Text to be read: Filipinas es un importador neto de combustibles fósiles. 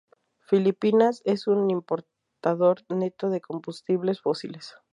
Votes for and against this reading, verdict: 2, 0, accepted